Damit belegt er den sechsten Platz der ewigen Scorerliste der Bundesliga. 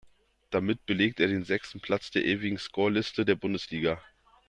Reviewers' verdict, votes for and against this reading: rejected, 1, 2